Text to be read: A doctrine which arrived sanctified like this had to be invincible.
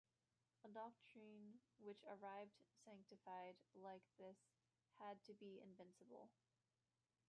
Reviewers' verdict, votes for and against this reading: rejected, 1, 2